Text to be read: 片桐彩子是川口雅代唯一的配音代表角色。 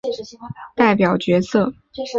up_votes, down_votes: 0, 3